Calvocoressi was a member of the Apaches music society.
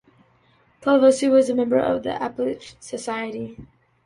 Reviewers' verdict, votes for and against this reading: rejected, 0, 4